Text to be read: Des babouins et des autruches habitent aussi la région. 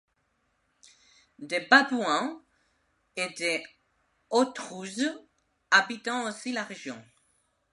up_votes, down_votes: 1, 2